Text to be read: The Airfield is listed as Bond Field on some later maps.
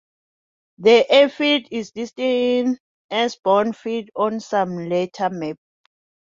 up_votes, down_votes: 1, 3